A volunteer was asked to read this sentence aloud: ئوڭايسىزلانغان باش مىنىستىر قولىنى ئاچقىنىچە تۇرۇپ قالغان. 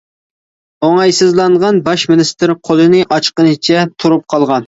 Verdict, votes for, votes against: accepted, 3, 0